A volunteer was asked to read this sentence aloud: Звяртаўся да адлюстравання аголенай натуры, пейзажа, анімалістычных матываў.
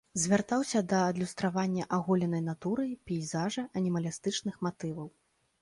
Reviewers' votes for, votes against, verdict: 0, 2, rejected